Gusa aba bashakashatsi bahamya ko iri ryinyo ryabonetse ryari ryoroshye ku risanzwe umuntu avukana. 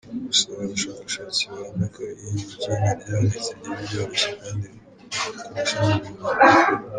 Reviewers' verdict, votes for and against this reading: rejected, 0, 2